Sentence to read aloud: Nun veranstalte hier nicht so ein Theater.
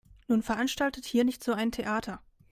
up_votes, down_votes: 0, 2